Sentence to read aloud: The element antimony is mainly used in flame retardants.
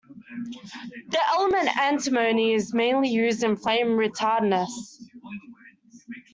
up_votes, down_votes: 1, 2